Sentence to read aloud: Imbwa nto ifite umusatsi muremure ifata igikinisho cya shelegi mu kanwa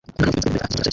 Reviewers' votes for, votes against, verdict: 0, 2, rejected